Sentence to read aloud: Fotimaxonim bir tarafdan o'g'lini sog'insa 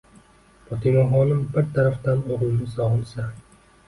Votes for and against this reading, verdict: 0, 2, rejected